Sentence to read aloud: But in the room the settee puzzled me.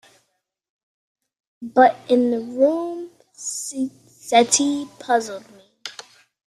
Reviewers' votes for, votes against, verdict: 0, 2, rejected